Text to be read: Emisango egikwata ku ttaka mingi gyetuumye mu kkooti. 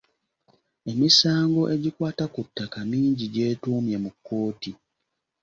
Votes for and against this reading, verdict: 2, 0, accepted